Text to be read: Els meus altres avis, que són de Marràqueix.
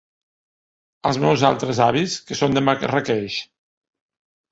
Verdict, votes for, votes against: rejected, 0, 2